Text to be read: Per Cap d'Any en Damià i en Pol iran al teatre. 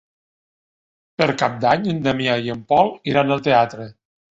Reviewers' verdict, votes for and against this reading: accepted, 3, 0